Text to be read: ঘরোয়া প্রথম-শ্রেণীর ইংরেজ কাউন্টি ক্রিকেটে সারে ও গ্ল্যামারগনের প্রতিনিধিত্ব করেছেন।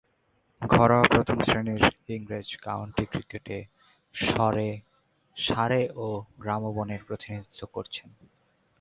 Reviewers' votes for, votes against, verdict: 0, 2, rejected